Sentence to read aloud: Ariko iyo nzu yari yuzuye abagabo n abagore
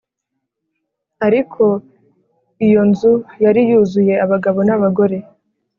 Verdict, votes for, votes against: accepted, 3, 0